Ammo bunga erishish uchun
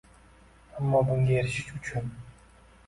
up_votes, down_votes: 2, 1